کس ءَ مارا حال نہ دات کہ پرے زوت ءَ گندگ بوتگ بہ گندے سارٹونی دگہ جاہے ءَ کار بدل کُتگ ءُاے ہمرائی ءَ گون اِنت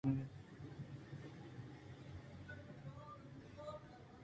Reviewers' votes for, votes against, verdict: 2, 1, accepted